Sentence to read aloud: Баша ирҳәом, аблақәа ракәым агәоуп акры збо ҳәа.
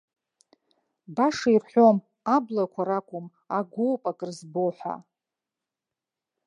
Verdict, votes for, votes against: accepted, 2, 0